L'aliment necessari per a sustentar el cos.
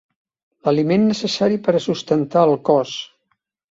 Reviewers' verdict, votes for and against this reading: accepted, 3, 0